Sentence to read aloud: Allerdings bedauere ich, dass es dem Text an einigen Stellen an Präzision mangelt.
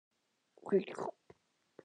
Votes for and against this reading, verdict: 0, 2, rejected